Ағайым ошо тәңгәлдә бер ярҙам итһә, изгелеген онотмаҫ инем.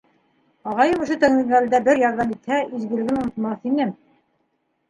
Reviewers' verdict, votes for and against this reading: rejected, 0, 2